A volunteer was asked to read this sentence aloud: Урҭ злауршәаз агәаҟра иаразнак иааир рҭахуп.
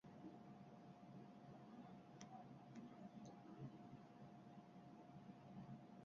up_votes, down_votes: 0, 2